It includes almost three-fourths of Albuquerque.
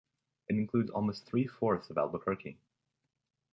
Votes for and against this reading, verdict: 2, 0, accepted